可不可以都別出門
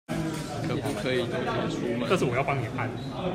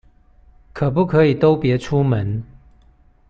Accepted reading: second